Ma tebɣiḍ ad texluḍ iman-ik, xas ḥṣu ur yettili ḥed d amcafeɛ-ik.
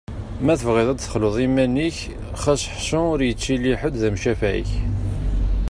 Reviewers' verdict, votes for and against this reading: accepted, 2, 0